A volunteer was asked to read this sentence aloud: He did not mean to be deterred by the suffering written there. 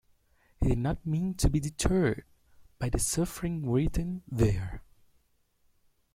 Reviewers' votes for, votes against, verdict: 2, 1, accepted